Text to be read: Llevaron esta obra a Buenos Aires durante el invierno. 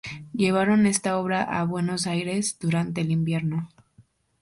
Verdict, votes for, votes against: accepted, 2, 0